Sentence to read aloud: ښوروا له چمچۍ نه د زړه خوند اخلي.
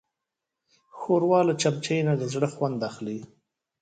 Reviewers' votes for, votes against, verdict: 1, 2, rejected